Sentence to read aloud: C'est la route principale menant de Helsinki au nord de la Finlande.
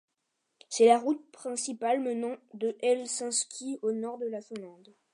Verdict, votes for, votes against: rejected, 0, 2